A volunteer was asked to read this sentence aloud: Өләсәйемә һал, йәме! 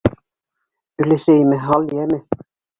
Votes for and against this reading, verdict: 2, 1, accepted